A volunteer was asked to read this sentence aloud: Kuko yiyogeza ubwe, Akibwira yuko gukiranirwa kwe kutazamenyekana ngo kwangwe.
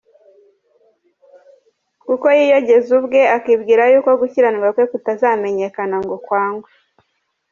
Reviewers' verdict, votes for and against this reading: rejected, 0, 2